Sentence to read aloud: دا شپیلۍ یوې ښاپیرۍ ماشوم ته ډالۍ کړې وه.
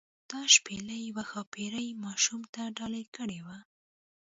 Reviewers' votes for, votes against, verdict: 2, 0, accepted